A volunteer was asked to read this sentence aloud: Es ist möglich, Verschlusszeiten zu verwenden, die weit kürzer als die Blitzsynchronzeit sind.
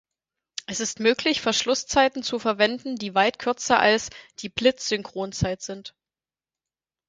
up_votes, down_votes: 4, 0